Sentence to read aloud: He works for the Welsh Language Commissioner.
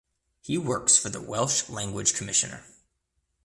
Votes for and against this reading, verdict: 2, 0, accepted